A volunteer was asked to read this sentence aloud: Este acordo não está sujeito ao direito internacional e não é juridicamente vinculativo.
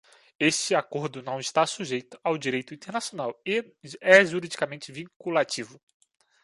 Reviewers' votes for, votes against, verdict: 0, 2, rejected